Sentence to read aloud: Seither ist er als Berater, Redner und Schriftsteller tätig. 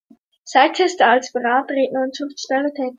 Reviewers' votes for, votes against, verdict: 1, 2, rejected